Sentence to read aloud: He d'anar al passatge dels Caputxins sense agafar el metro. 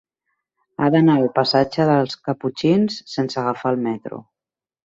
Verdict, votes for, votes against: rejected, 0, 3